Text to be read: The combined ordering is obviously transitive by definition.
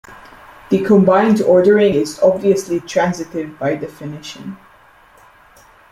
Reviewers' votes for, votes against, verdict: 2, 0, accepted